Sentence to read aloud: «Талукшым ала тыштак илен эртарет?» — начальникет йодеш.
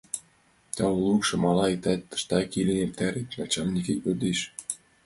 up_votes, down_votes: 0, 2